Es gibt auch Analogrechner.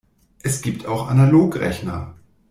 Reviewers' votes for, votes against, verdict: 2, 0, accepted